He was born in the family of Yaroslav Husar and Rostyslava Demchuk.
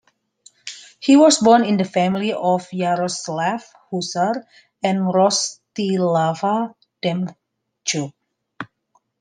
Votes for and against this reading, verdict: 1, 2, rejected